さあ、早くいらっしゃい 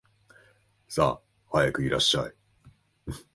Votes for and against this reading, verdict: 4, 1, accepted